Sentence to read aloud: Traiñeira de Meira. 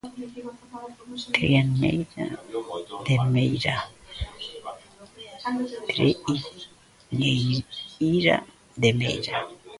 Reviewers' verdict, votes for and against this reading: rejected, 0, 2